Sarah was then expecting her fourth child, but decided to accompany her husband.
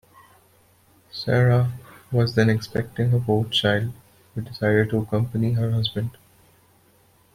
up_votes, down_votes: 1, 2